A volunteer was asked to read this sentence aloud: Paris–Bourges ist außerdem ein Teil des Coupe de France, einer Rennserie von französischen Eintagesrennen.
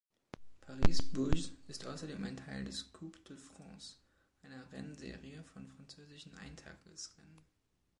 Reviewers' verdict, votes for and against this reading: rejected, 1, 2